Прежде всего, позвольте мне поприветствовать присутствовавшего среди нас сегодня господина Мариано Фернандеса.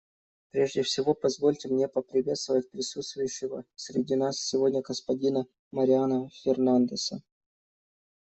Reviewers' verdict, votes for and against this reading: rejected, 1, 2